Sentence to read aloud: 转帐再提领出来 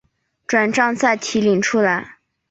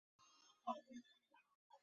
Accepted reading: first